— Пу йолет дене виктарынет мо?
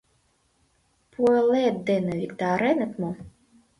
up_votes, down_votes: 1, 2